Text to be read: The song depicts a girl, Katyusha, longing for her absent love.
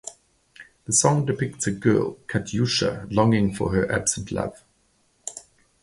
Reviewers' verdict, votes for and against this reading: accepted, 2, 0